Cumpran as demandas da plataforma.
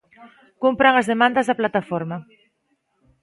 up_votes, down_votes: 2, 0